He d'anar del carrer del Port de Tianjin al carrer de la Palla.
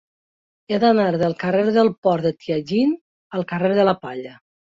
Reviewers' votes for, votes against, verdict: 2, 0, accepted